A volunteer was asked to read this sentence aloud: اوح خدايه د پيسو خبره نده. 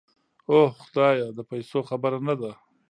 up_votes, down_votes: 0, 2